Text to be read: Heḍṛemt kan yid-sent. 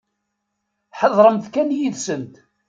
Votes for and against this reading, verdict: 1, 2, rejected